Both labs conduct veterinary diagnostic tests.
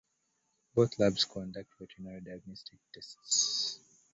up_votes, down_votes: 1, 2